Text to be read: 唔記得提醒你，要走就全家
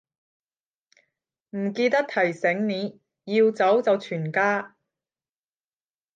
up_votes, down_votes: 0, 10